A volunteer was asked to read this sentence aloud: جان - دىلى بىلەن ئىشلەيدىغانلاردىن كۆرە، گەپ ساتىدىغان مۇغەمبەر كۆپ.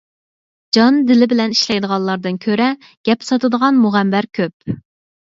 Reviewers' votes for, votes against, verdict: 4, 0, accepted